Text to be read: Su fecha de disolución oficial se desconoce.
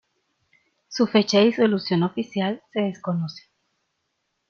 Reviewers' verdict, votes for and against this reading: accepted, 2, 0